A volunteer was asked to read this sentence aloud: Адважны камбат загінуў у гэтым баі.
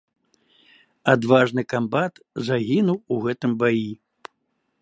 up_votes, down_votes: 2, 0